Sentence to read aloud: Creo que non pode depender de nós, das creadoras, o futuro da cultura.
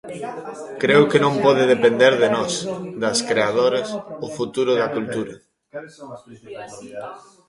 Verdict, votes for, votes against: rejected, 1, 2